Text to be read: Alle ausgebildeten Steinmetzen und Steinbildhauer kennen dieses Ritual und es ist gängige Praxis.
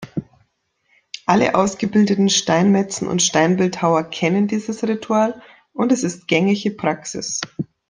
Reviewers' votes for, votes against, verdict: 2, 0, accepted